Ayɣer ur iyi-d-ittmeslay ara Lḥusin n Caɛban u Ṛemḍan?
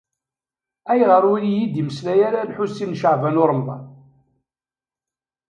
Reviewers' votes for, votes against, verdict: 1, 2, rejected